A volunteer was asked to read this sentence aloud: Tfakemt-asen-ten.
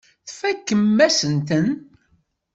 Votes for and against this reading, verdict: 0, 2, rejected